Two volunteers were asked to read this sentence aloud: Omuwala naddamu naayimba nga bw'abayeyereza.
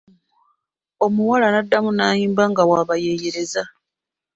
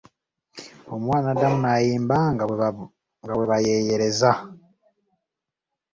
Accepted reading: first